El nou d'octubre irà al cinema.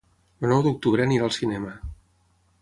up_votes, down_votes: 3, 6